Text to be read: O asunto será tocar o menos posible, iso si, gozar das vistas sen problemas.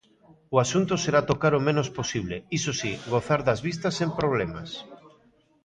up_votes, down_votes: 1, 2